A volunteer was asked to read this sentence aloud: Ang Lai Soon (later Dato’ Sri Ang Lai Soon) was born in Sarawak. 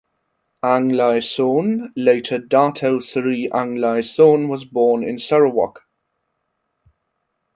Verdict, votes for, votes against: accepted, 2, 0